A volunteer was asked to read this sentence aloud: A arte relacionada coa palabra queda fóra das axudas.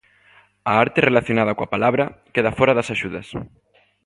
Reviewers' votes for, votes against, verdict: 2, 0, accepted